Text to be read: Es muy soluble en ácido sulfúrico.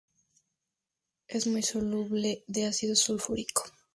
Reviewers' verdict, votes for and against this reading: rejected, 0, 4